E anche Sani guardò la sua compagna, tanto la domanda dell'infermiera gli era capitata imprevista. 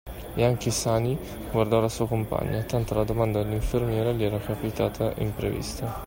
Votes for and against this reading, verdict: 2, 1, accepted